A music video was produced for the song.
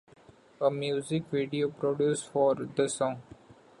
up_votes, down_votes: 0, 2